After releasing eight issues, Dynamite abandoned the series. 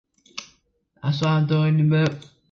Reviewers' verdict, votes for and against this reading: rejected, 0, 2